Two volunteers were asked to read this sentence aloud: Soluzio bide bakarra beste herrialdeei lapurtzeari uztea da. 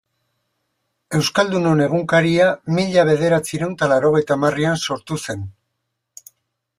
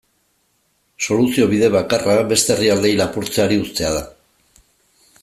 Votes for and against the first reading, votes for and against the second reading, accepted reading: 0, 2, 2, 0, second